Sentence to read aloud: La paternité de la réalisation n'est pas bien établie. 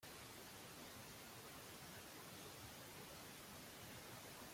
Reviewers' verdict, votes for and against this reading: rejected, 0, 2